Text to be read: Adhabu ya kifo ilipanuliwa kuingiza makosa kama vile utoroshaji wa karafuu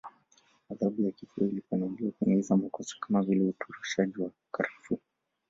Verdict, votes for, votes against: rejected, 1, 3